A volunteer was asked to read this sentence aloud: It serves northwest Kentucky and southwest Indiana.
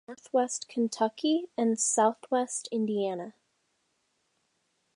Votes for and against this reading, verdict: 0, 2, rejected